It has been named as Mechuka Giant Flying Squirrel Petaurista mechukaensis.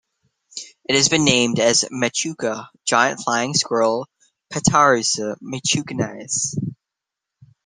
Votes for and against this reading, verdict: 0, 2, rejected